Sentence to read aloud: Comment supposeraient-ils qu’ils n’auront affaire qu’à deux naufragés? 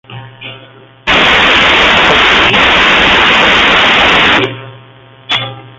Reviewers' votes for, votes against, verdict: 0, 2, rejected